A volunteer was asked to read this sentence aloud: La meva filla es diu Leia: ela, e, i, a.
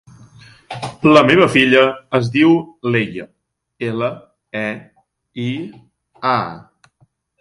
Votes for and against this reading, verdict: 3, 0, accepted